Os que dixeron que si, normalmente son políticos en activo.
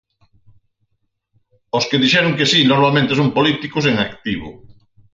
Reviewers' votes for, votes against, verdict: 4, 0, accepted